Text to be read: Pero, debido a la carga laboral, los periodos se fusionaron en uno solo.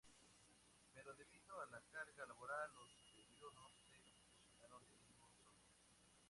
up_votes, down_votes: 0, 2